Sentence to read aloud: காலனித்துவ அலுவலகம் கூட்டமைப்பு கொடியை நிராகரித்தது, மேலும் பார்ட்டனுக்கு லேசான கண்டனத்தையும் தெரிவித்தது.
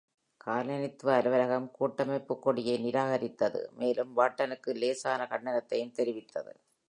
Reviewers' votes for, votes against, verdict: 4, 0, accepted